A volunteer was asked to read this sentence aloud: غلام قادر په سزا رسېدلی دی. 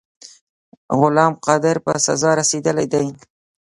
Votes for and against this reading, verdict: 1, 2, rejected